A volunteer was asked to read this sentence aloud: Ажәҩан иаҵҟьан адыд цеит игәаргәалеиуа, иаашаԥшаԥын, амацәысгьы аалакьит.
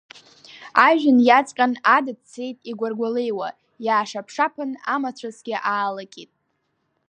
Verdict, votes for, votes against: accepted, 2, 0